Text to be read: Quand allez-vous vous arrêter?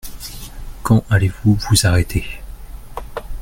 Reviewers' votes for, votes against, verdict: 2, 0, accepted